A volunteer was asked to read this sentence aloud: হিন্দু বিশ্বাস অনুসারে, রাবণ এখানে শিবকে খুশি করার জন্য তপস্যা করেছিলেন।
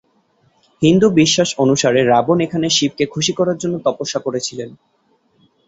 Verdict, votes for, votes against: accepted, 2, 0